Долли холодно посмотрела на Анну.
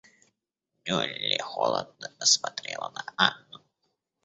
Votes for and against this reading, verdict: 1, 2, rejected